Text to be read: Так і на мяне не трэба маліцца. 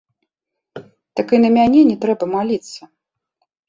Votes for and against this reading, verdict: 2, 0, accepted